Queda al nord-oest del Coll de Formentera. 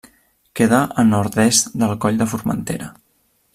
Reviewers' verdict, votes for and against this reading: rejected, 1, 2